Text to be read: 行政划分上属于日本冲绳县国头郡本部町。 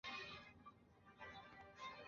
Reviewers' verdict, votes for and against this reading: rejected, 1, 2